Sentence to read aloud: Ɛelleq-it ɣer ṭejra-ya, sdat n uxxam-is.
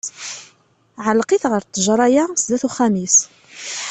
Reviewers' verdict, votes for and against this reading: accepted, 2, 0